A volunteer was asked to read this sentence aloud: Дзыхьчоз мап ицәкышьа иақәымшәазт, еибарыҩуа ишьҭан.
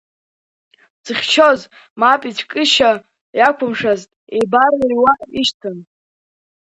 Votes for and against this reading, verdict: 2, 0, accepted